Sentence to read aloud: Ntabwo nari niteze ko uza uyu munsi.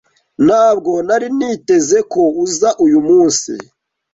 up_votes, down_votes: 2, 0